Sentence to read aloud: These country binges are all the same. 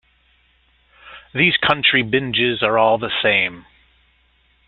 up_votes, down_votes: 2, 0